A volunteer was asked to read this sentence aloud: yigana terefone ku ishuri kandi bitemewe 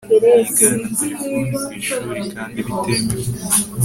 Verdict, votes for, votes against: accepted, 2, 0